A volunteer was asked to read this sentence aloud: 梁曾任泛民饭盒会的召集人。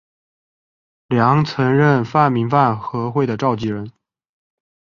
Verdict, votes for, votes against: accepted, 8, 0